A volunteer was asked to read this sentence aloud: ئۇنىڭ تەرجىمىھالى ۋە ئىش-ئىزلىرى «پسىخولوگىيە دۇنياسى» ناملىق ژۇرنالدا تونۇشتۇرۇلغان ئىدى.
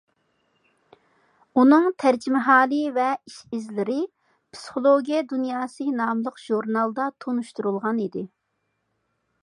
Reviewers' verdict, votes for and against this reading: accepted, 2, 0